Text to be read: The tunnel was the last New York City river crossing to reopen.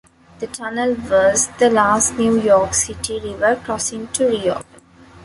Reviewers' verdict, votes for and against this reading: accepted, 2, 0